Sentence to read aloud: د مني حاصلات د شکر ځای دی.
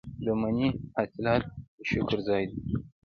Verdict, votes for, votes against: accepted, 2, 0